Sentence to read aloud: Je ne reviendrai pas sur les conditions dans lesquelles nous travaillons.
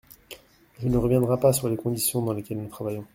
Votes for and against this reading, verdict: 1, 2, rejected